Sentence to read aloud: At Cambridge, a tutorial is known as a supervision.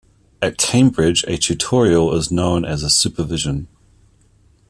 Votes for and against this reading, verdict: 1, 2, rejected